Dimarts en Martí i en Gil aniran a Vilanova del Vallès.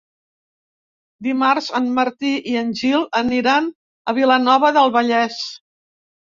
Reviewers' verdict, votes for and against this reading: accepted, 3, 0